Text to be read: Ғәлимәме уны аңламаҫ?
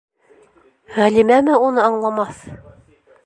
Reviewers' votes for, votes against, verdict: 2, 0, accepted